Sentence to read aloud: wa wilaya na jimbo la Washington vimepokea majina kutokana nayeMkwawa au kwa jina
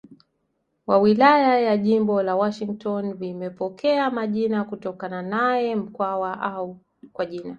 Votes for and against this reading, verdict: 1, 2, rejected